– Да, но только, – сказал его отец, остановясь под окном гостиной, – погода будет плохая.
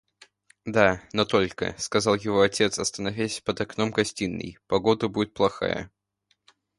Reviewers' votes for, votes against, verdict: 2, 0, accepted